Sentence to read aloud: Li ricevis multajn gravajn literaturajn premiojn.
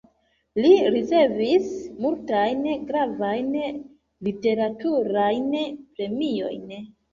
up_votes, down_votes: 2, 0